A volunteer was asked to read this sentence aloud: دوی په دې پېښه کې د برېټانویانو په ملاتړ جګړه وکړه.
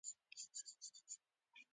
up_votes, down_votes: 0, 2